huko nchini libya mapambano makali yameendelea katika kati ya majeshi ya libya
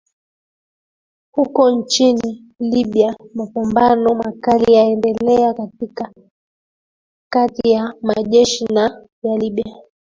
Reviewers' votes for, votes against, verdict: 0, 2, rejected